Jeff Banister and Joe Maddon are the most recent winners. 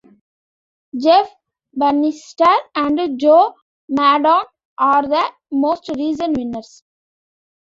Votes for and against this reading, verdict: 1, 2, rejected